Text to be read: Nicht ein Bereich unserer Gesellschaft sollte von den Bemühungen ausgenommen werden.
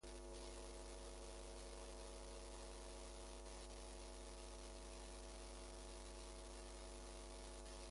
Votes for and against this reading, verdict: 0, 2, rejected